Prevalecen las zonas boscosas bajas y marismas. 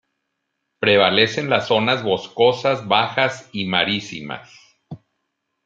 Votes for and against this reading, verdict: 0, 2, rejected